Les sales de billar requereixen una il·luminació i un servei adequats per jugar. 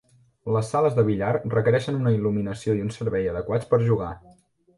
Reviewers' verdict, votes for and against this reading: accepted, 2, 0